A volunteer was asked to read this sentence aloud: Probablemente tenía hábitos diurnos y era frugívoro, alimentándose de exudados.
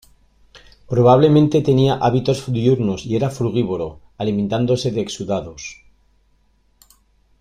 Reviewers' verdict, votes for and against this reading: rejected, 1, 2